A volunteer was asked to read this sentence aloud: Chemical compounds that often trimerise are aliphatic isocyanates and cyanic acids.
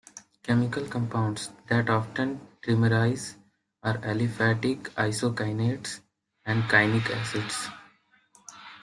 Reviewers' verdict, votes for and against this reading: rejected, 1, 2